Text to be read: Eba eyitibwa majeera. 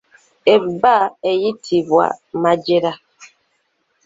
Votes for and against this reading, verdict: 0, 2, rejected